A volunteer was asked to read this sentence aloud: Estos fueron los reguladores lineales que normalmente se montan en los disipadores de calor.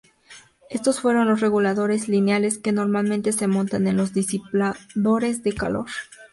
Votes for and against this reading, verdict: 2, 0, accepted